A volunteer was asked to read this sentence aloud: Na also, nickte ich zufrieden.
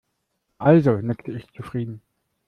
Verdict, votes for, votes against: rejected, 0, 2